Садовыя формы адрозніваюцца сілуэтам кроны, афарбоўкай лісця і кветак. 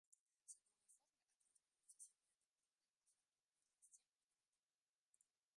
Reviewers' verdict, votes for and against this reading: rejected, 0, 2